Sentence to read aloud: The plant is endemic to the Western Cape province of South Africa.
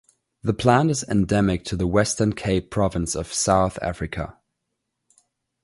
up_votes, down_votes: 2, 0